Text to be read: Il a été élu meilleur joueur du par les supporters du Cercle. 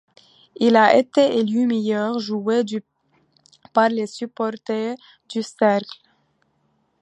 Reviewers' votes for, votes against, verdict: 2, 0, accepted